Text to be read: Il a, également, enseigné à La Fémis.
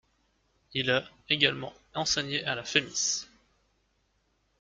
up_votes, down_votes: 2, 0